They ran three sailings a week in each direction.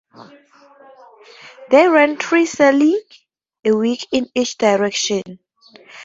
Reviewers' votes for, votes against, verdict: 2, 0, accepted